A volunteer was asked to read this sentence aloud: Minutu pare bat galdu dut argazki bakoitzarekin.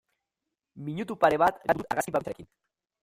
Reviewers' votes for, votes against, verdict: 0, 2, rejected